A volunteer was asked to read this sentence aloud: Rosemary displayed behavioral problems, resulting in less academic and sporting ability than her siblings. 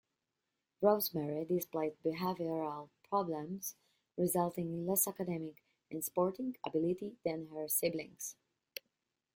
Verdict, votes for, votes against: accepted, 2, 0